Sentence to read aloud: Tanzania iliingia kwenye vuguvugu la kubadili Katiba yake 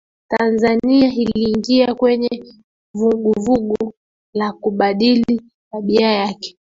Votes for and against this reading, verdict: 0, 2, rejected